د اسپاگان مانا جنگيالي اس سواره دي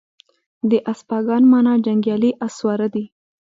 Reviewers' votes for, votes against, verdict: 2, 0, accepted